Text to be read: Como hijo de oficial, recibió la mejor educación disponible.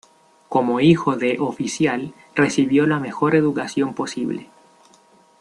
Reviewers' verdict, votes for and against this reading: rejected, 1, 2